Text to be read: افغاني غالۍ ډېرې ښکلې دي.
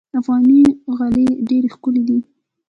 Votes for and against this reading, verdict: 2, 1, accepted